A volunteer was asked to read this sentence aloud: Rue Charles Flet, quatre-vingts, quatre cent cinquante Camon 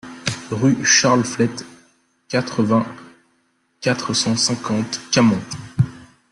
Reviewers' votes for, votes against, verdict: 1, 2, rejected